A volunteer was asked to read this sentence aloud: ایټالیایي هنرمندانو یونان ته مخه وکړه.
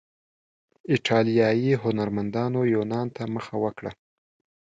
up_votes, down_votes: 2, 0